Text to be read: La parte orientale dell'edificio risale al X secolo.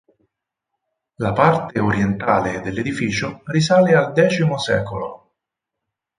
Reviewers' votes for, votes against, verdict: 4, 0, accepted